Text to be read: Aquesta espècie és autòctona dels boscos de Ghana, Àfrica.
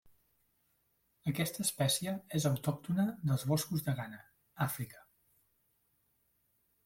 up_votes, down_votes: 3, 1